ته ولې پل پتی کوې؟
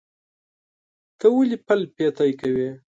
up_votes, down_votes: 2, 0